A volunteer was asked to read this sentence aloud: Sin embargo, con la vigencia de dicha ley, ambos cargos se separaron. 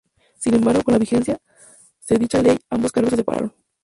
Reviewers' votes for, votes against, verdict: 2, 0, accepted